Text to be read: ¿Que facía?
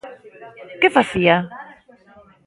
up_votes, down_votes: 1, 2